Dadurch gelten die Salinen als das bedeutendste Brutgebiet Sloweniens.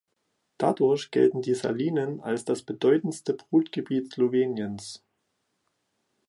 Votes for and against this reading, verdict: 2, 0, accepted